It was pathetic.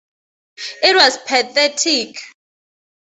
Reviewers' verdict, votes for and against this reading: accepted, 2, 0